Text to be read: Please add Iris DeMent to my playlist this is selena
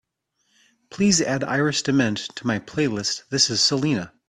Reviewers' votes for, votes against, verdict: 2, 0, accepted